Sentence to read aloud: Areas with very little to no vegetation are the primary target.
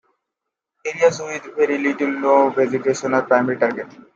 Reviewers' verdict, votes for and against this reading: accepted, 2, 0